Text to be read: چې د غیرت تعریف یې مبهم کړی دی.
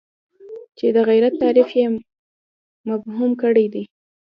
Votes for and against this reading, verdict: 1, 2, rejected